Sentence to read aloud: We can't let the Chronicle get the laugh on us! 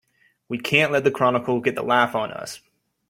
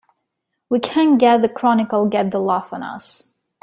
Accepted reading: first